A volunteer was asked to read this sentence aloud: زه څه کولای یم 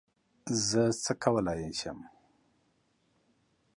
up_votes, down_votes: 2, 0